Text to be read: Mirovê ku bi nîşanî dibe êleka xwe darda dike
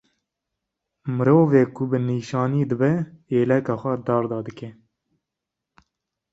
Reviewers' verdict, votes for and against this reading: accepted, 2, 0